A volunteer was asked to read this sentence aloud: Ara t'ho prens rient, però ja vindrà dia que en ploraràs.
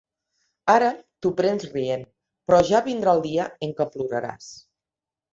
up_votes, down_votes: 1, 2